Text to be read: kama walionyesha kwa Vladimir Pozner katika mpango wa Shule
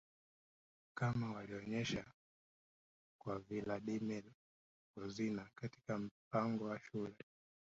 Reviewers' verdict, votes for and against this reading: accepted, 2, 0